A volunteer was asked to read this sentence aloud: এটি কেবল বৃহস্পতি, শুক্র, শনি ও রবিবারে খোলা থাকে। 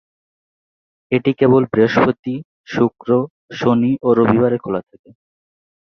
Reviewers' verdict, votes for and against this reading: accepted, 2, 0